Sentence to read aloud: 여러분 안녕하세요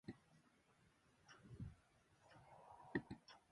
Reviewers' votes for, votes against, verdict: 0, 2, rejected